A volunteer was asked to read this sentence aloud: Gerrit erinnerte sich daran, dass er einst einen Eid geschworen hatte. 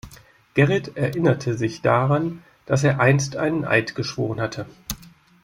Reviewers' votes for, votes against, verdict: 2, 0, accepted